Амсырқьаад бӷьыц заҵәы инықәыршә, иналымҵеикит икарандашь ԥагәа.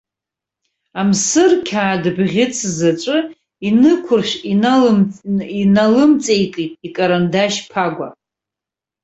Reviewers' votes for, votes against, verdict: 1, 2, rejected